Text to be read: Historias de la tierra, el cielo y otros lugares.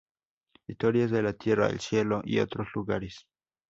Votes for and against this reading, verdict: 2, 0, accepted